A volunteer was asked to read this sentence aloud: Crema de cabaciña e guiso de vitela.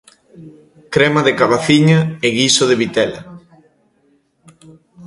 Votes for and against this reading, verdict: 2, 0, accepted